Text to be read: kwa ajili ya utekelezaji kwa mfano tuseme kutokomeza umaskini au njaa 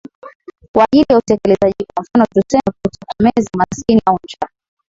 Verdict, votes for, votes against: rejected, 0, 2